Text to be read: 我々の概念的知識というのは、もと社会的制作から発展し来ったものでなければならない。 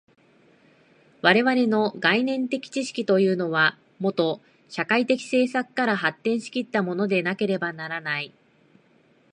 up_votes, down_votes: 2, 0